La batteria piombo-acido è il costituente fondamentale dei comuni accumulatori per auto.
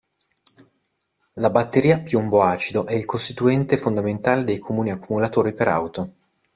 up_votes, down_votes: 2, 0